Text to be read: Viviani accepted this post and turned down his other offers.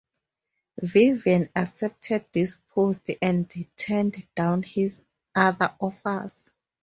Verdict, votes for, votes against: rejected, 0, 2